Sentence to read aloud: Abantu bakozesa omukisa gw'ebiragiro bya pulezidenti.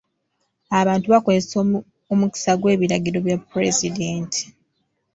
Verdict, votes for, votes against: rejected, 0, 2